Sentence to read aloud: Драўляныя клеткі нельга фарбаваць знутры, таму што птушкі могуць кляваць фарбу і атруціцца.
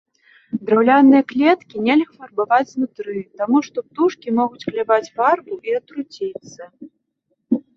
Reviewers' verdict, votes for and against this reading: accepted, 2, 1